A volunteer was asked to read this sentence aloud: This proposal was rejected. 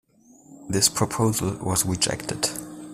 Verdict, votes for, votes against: accepted, 2, 0